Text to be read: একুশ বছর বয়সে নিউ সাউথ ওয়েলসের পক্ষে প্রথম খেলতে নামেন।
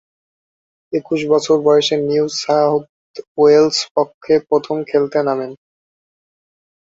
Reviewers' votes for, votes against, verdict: 1, 3, rejected